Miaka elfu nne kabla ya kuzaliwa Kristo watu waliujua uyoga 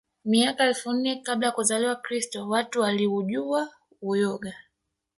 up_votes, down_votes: 1, 2